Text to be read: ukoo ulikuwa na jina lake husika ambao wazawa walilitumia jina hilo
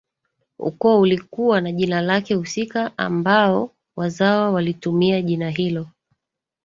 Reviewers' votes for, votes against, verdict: 2, 0, accepted